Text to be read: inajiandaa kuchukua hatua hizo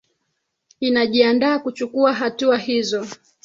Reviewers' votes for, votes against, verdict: 2, 3, rejected